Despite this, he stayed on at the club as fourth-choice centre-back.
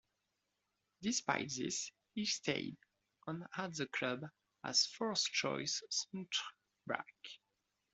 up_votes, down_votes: 0, 2